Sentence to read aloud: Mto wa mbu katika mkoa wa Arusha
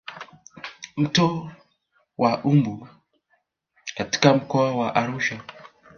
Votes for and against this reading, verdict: 2, 0, accepted